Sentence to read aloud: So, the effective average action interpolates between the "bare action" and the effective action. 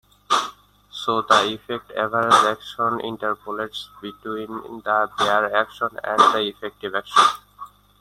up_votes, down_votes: 1, 2